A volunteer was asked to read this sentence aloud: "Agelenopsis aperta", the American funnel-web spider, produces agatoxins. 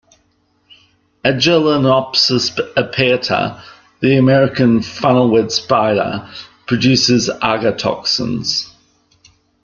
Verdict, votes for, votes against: rejected, 1, 2